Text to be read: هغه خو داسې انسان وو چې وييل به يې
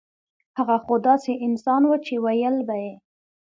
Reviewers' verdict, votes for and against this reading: accepted, 2, 0